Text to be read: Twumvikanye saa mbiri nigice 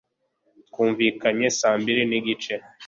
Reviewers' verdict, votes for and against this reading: accepted, 3, 0